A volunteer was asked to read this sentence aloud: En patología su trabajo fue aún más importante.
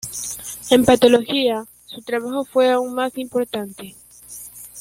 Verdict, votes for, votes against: accepted, 3, 1